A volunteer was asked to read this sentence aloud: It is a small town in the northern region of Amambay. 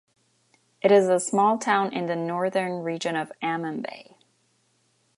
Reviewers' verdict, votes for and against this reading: accepted, 2, 0